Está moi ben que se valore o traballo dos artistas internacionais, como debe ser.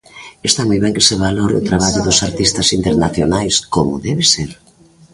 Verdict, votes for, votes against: rejected, 1, 2